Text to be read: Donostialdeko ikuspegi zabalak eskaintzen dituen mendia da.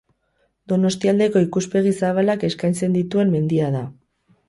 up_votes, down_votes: 2, 2